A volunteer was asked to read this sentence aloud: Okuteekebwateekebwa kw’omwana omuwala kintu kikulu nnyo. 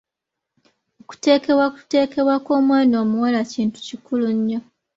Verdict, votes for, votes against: rejected, 1, 2